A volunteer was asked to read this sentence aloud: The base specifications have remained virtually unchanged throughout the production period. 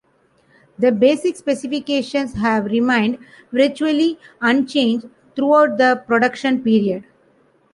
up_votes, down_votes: 0, 2